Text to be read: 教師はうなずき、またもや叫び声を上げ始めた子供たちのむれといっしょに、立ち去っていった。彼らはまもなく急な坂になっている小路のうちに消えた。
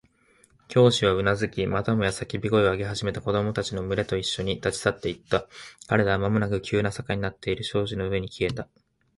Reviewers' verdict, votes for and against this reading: rejected, 1, 2